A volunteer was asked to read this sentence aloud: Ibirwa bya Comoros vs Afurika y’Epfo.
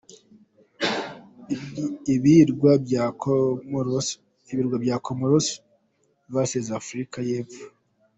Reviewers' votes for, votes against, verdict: 1, 2, rejected